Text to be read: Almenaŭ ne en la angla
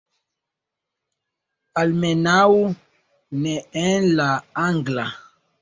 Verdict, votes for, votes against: rejected, 0, 2